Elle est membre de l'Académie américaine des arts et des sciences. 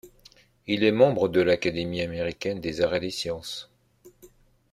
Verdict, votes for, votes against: accepted, 2, 1